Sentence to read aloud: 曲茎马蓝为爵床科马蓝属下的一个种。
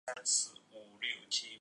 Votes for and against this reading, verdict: 1, 2, rejected